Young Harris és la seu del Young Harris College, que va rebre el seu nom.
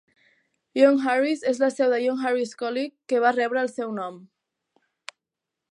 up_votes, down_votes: 2, 0